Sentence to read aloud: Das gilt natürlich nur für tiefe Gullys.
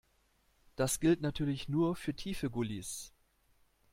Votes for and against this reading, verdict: 2, 0, accepted